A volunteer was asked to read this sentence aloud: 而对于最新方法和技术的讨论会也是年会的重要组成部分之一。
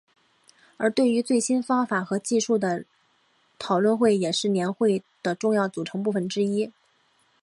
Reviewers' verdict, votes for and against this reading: accepted, 4, 0